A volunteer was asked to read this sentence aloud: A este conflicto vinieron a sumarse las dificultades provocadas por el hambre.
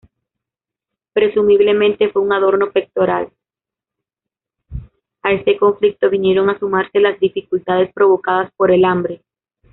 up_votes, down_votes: 0, 2